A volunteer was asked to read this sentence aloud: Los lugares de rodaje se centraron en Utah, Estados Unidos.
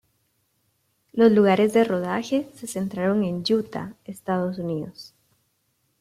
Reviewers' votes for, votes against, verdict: 2, 0, accepted